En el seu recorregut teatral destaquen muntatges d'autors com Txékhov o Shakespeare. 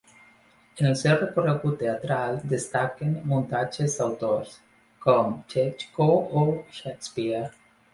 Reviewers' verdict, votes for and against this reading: rejected, 1, 2